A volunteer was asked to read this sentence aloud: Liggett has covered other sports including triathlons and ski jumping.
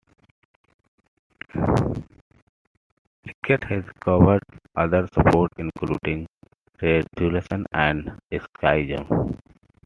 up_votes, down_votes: 1, 2